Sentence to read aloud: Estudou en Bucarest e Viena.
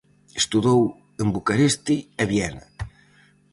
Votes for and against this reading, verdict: 0, 4, rejected